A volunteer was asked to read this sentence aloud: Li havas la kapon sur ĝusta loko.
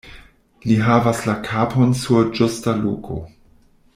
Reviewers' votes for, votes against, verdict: 0, 2, rejected